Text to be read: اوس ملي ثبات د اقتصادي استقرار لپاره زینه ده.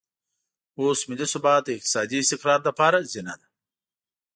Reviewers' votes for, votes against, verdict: 2, 1, accepted